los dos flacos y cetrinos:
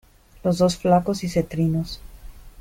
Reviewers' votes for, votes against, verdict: 2, 0, accepted